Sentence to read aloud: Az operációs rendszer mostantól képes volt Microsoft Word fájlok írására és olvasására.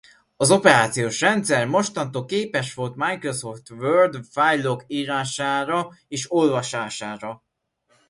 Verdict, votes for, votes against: accepted, 2, 0